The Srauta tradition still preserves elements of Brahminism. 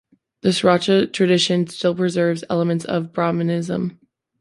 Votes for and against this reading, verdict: 2, 0, accepted